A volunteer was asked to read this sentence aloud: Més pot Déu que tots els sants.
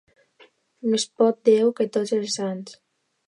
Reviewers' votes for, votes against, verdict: 2, 0, accepted